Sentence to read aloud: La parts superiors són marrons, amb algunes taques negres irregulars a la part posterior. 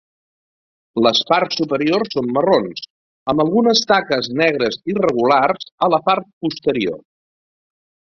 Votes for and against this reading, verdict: 2, 0, accepted